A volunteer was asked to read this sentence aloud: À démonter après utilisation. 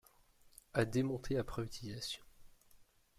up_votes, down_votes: 0, 2